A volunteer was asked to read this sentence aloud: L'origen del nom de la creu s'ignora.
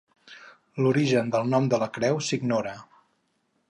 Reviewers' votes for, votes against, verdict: 4, 0, accepted